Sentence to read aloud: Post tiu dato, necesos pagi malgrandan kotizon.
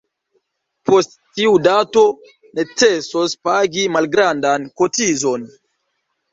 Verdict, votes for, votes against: rejected, 0, 2